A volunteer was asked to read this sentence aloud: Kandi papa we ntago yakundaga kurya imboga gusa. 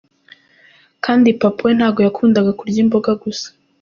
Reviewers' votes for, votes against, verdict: 2, 1, accepted